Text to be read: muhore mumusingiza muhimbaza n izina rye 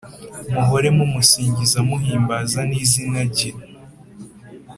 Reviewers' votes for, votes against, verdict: 2, 0, accepted